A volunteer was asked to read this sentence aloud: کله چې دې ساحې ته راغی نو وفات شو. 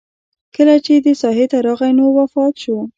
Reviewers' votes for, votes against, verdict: 0, 2, rejected